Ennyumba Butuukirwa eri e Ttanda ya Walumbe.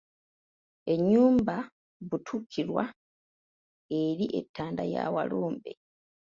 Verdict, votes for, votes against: rejected, 1, 2